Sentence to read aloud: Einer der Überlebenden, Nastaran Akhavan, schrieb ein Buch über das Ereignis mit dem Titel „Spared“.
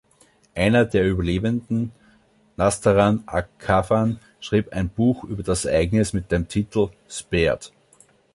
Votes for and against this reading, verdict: 0, 2, rejected